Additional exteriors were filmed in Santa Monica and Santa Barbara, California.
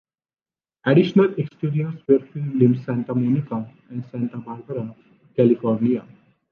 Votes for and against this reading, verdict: 2, 1, accepted